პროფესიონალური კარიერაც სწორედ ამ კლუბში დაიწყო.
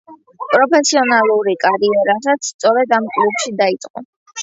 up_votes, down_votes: 0, 2